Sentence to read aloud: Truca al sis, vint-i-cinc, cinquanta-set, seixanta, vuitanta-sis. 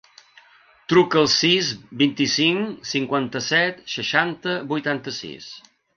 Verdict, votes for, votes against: accepted, 2, 0